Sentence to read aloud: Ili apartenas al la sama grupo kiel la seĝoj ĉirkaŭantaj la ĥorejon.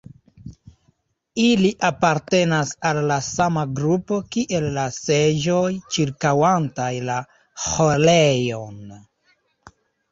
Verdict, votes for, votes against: accepted, 3, 1